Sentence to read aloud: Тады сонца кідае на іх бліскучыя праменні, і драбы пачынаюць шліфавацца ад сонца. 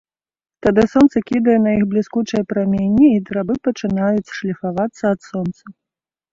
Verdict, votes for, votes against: accepted, 2, 0